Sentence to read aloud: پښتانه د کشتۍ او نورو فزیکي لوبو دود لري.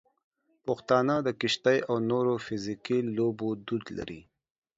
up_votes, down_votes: 0, 2